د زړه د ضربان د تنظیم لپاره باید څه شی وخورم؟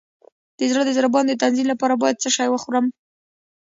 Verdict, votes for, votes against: rejected, 0, 2